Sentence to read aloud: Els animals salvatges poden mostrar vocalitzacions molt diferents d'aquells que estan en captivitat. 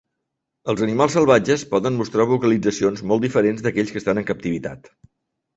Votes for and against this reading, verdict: 5, 0, accepted